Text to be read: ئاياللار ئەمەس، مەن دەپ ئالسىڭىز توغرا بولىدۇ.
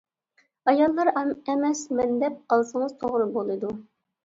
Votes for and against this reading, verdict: 0, 2, rejected